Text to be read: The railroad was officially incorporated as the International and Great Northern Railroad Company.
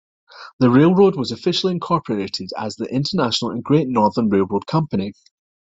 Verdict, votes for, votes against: accepted, 2, 0